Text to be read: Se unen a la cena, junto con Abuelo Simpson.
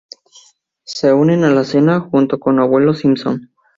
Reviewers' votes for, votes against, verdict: 2, 0, accepted